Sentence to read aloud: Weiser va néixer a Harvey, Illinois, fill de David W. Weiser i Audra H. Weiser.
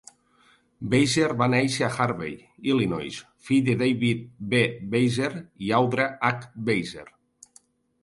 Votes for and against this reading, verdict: 3, 0, accepted